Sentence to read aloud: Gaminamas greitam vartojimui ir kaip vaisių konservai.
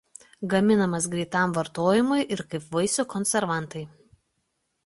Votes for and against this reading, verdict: 0, 2, rejected